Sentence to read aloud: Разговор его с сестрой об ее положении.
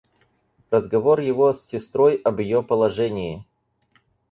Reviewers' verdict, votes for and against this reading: accepted, 4, 0